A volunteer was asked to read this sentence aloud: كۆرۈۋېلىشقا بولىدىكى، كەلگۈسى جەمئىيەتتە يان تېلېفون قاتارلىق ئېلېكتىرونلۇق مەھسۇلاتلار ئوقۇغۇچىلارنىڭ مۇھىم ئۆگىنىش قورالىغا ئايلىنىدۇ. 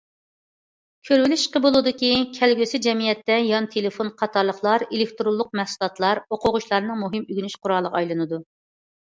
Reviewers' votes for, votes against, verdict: 0, 2, rejected